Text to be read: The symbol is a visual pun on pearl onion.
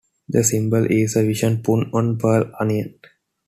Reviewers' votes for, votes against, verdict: 2, 1, accepted